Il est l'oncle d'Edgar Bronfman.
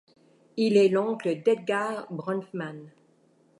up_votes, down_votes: 2, 0